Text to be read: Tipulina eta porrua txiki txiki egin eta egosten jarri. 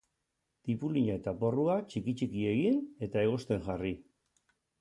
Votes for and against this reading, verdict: 2, 0, accepted